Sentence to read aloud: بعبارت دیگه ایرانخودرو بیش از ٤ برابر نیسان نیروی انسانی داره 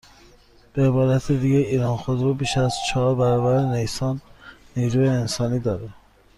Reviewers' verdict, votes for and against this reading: rejected, 0, 2